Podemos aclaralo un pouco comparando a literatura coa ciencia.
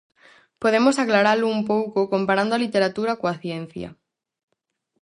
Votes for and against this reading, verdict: 4, 0, accepted